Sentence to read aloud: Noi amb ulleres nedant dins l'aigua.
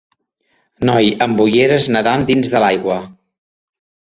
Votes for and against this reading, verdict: 2, 3, rejected